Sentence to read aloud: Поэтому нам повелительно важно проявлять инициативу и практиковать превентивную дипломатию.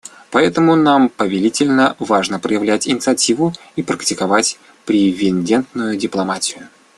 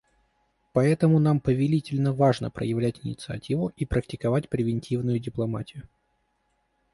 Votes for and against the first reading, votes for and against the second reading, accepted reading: 0, 2, 2, 0, second